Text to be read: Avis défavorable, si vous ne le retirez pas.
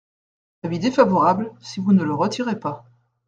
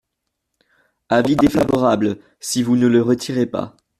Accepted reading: first